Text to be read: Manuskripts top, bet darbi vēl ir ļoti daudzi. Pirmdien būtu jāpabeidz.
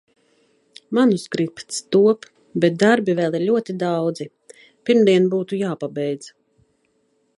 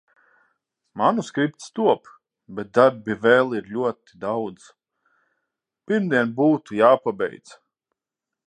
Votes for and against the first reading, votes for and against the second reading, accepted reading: 2, 0, 3, 3, first